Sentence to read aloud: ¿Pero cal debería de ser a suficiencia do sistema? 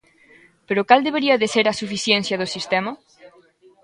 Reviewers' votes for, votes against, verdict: 1, 2, rejected